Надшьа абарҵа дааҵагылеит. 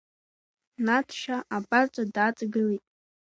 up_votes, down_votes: 2, 0